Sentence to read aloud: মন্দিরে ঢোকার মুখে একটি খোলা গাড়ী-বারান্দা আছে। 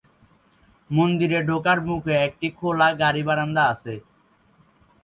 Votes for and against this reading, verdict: 1, 2, rejected